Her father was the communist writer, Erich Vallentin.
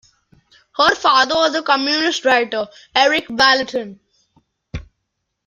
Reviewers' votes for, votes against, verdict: 2, 1, accepted